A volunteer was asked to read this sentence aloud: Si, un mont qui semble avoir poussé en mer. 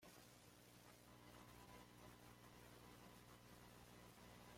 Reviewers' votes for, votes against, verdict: 0, 2, rejected